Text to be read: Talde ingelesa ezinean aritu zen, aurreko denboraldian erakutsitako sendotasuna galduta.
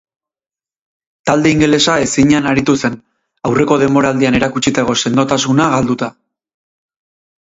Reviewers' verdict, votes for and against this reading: rejected, 2, 2